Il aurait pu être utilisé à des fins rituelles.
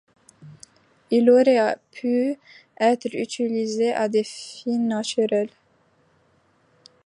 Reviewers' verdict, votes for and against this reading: rejected, 1, 2